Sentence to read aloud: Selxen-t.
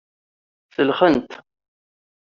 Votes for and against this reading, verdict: 2, 0, accepted